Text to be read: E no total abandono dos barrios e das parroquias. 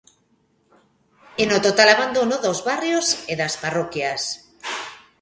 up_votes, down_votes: 1, 2